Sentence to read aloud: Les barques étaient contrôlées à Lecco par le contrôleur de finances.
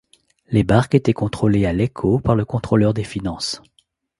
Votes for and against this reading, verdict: 1, 2, rejected